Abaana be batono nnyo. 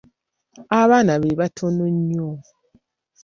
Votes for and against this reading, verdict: 0, 2, rejected